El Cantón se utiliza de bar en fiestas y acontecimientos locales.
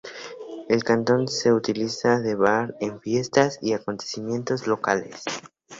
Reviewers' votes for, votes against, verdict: 2, 0, accepted